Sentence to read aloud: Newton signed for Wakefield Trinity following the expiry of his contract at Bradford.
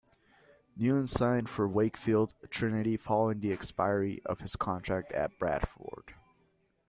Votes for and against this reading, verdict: 2, 0, accepted